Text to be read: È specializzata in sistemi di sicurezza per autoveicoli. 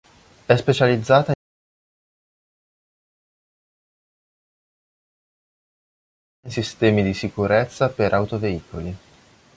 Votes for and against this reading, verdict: 0, 3, rejected